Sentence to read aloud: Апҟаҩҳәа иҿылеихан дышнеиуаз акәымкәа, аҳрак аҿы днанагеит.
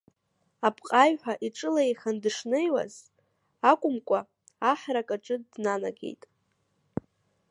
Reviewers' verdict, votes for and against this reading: accepted, 2, 0